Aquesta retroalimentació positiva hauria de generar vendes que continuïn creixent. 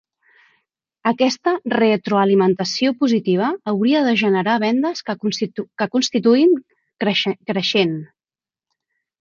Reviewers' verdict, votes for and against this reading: rejected, 0, 2